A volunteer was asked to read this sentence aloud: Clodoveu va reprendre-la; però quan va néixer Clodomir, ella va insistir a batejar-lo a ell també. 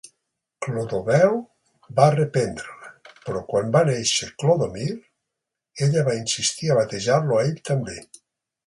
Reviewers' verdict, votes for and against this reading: accepted, 3, 0